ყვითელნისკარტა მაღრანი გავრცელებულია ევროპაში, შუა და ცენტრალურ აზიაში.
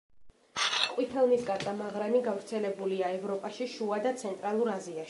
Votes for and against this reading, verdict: 0, 2, rejected